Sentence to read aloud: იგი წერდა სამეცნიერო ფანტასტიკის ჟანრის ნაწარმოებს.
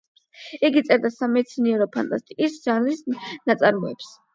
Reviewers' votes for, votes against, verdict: 8, 0, accepted